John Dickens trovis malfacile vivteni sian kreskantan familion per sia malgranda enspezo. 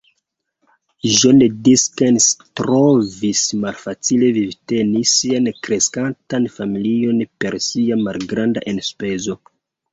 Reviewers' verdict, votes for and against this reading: rejected, 1, 2